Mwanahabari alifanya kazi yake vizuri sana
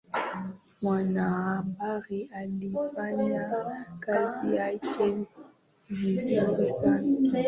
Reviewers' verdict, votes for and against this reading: accepted, 3, 2